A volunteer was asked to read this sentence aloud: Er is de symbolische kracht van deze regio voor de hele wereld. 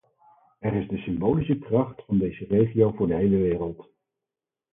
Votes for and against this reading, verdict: 2, 4, rejected